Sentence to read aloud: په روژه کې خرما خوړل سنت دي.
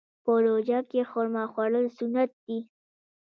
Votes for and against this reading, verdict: 0, 2, rejected